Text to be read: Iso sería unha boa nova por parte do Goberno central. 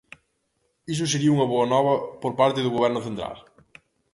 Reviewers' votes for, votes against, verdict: 2, 0, accepted